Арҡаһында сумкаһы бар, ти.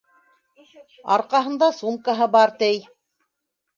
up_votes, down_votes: 1, 2